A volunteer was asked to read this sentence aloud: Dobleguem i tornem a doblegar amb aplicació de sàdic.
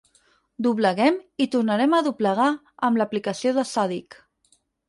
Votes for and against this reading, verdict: 0, 4, rejected